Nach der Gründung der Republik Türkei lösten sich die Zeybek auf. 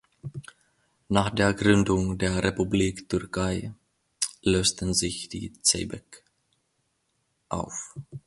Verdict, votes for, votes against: rejected, 1, 2